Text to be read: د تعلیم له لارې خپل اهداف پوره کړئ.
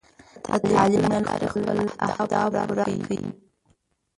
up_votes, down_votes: 0, 2